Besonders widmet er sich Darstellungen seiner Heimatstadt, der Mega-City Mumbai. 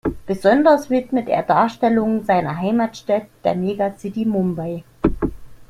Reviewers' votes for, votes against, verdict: 0, 2, rejected